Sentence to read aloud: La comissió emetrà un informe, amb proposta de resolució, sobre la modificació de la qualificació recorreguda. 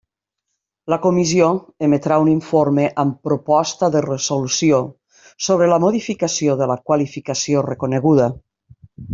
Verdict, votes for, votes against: rejected, 1, 2